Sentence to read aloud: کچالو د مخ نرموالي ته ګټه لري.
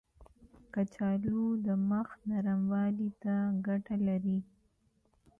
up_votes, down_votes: 2, 0